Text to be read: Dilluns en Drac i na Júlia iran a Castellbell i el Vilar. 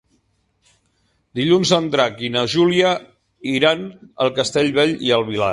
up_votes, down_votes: 1, 2